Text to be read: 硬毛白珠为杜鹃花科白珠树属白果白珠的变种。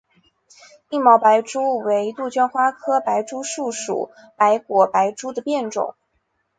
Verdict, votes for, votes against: accepted, 2, 0